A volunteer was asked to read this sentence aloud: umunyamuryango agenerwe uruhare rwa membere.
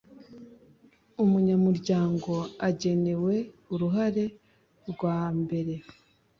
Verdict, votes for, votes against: rejected, 1, 2